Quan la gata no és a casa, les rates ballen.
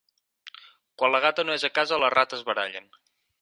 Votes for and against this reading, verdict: 2, 6, rejected